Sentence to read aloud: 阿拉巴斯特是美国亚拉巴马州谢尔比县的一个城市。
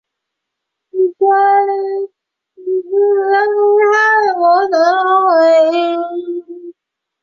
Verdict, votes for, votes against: rejected, 0, 3